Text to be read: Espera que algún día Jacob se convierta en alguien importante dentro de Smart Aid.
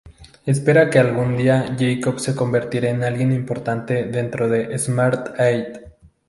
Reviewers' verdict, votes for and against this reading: accepted, 2, 0